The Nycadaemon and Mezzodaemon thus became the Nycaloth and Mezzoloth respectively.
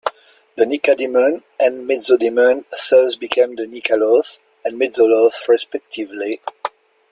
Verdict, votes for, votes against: accepted, 2, 0